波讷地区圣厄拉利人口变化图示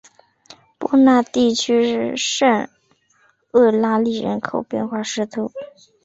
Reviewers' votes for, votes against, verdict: 2, 1, accepted